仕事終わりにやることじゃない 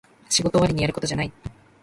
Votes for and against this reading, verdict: 0, 2, rejected